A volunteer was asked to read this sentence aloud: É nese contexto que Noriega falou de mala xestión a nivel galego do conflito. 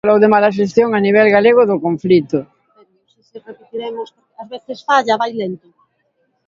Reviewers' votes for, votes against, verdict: 0, 2, rejected